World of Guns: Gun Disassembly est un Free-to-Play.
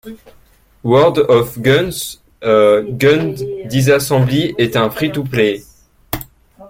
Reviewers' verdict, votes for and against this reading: rejected, 0, 2